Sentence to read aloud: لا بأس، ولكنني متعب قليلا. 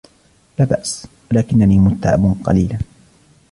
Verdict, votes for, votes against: accepted, 2, 1